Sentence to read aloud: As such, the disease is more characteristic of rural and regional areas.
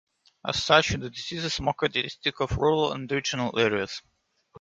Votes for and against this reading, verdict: 0, 2, rejected